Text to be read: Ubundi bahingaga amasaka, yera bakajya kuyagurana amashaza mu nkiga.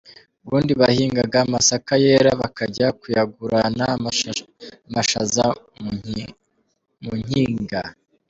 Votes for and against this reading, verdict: 0, 3, rejected